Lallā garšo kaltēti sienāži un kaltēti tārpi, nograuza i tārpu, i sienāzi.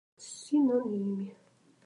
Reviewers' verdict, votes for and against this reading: rejected, 0, 2